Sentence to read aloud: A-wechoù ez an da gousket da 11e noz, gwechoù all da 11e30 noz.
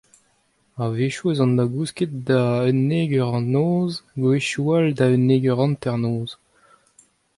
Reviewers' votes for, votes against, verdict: 0, 2, rejected